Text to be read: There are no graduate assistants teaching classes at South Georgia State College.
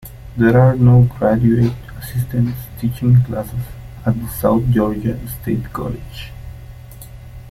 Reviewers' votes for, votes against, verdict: 2, 1, accepted